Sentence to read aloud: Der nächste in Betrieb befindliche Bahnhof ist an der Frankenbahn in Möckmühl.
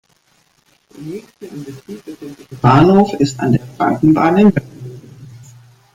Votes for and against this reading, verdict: 1, 2, rejected